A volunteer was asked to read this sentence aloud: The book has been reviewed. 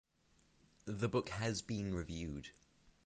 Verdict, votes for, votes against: rejected, 3, 3